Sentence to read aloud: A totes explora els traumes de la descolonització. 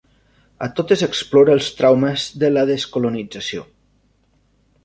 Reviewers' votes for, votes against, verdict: 2, 0, accepted